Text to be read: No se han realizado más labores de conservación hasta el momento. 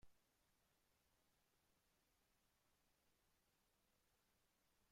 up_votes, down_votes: 0, 2